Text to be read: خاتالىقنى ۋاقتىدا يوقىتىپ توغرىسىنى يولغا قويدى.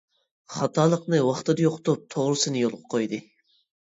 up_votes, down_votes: 2, 0